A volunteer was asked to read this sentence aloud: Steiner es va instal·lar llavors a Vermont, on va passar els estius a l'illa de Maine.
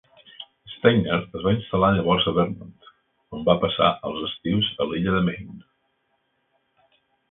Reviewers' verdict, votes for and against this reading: accepted, 2, 0